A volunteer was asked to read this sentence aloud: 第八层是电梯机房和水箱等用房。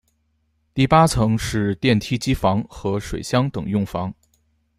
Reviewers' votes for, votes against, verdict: 2, 1, accepted